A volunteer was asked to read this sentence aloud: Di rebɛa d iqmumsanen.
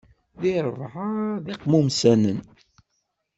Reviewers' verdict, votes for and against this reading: accepted, 2, 0